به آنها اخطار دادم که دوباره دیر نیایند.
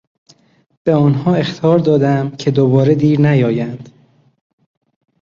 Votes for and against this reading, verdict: 3, 0, accepted